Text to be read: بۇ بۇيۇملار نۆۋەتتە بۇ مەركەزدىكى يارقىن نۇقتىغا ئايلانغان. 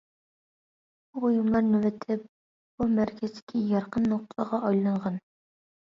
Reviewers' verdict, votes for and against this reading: rejected, 0, 2